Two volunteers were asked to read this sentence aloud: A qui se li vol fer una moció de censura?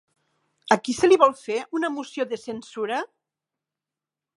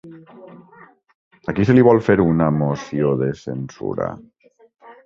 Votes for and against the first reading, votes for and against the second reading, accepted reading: 6, 0, 0, 2, first